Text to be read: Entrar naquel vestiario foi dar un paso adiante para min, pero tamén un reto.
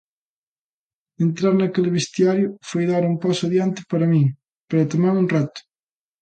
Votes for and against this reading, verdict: 2, 0, accepted